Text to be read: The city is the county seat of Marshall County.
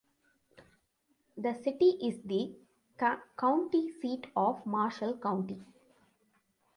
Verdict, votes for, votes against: rejected, 1, 2